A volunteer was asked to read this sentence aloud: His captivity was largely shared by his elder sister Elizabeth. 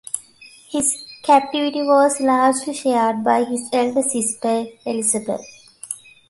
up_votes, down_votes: 2, 0